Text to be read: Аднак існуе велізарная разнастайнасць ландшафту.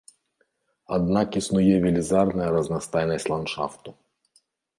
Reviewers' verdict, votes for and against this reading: accepted, 2, 0